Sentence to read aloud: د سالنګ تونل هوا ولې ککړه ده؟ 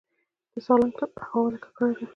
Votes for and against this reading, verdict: 2, 1, accepted